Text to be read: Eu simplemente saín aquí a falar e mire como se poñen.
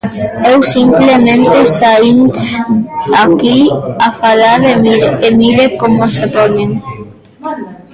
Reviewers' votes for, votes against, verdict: 0, 2, rejected